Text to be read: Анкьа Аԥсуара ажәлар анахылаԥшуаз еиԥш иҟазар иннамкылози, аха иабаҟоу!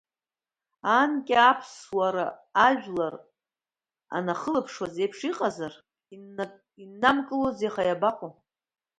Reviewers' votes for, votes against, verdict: 0, 2, rejected